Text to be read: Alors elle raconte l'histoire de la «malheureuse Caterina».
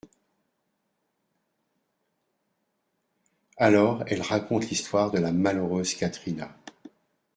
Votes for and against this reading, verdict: 2, 0, accepted